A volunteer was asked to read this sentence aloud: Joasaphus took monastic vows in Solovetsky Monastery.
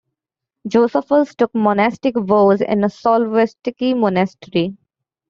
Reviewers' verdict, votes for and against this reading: rejected, 1, 2